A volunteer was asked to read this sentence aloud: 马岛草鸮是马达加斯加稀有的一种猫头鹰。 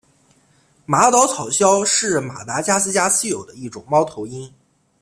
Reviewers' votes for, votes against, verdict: 2, 0, accepted